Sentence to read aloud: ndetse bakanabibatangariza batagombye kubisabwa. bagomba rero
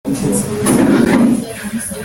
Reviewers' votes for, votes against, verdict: 1, 2, rejected